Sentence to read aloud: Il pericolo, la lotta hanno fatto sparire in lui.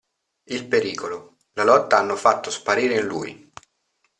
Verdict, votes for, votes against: accepted, 2, 0